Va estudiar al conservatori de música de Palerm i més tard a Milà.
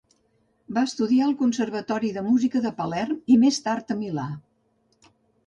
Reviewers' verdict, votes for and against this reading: accepted, 2, 0